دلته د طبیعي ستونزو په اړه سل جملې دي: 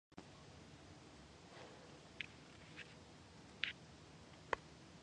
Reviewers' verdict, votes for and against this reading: rejected, 1, 2